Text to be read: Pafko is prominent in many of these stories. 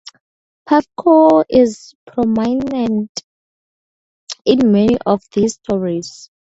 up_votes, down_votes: 0, 2